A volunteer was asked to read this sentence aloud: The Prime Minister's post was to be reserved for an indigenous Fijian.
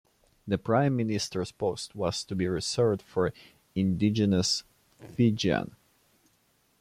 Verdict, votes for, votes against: rejected, 1, 2